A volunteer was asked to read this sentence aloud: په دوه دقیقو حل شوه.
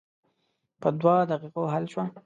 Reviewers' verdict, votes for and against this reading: accepted, 2, 0